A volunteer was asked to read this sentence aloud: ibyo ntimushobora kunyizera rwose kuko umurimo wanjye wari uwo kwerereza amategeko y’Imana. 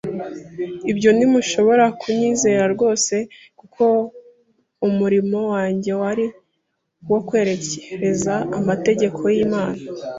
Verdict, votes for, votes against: rejected, 0, 2